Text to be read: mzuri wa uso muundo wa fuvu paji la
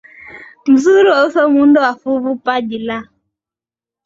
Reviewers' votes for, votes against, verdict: 3, 2, accepted